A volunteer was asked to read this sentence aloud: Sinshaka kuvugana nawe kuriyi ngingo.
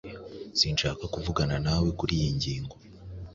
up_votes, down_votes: 2, 0